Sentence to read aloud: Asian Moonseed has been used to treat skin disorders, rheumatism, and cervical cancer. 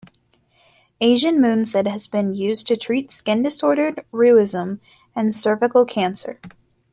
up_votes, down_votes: 1, 2